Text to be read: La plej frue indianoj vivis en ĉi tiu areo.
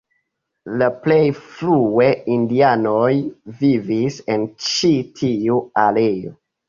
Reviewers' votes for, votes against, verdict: 0, 2, rejected